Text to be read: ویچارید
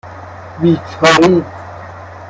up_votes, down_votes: 1, 2